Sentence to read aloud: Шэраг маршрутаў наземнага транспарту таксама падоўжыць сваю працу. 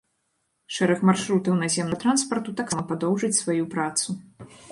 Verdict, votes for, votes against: rejected, 0, 2